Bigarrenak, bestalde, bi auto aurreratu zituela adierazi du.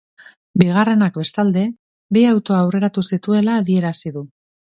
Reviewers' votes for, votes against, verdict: 2, 0, accepted